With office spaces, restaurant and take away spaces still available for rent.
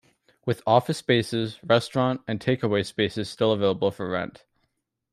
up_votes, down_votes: 2, 0